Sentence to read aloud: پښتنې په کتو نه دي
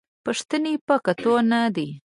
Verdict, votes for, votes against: rejected, 0, 2